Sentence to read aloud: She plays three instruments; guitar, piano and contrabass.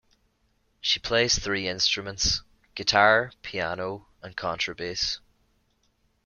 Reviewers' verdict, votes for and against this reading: accepted, 2, 0